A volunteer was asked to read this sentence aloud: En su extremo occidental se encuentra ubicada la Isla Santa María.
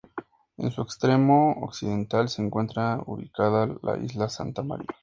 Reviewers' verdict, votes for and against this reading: accepted, 4, 0